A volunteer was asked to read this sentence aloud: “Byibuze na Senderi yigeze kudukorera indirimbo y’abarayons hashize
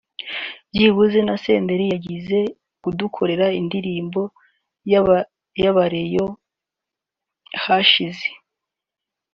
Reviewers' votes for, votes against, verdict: 0, 2, rejected